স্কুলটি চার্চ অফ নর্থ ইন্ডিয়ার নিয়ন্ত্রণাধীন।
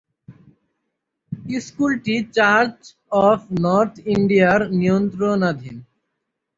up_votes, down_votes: 3, 0